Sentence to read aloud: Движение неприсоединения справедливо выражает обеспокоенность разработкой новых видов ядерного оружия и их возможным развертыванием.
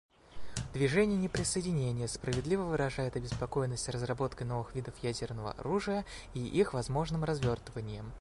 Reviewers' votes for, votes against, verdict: 2, 0, accepted